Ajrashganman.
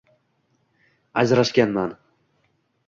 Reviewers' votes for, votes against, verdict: 1, 2, rejected